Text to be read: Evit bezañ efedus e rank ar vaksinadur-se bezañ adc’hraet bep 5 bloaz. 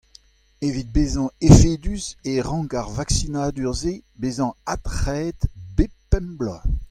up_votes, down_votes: 0, 2